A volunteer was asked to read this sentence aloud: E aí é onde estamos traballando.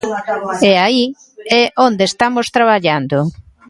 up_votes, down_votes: 1, 2